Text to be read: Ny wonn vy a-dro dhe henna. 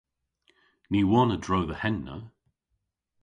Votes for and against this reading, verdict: 0, 2, rejected